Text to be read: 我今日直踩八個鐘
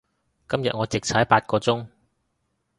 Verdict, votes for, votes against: rejected, 1, 2